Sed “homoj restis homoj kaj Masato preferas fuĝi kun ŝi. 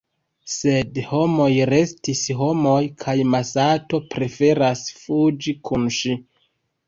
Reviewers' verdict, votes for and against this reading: accepted, 2, 0